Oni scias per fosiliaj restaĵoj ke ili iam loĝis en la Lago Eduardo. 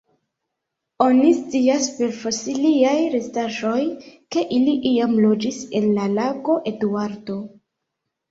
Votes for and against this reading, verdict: 1, 2, rejected